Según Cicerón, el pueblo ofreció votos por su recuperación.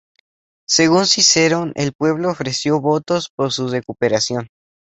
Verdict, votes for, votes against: accepted, 2, 0